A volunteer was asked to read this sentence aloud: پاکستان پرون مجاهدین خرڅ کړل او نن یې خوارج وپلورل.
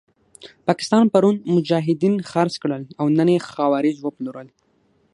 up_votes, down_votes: 6, 0